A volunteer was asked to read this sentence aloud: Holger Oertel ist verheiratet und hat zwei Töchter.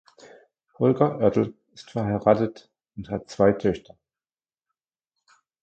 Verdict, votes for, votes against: accepted, 2, 0